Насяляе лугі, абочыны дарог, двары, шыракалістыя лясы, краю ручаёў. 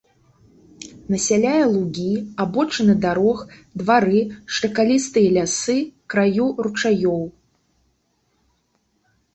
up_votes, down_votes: 3, 1